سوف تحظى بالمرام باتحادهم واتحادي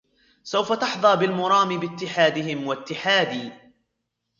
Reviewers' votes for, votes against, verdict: 3, 0, accepted